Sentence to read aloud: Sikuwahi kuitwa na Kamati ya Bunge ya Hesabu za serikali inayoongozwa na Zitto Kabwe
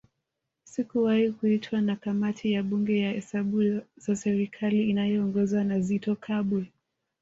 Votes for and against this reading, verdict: 1, 2, rejected